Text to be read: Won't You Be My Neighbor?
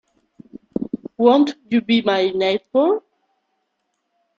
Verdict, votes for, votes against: accepted, 2, 1